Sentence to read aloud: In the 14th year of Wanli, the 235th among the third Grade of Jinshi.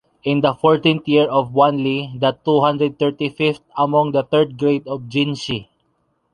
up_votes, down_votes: 0, 2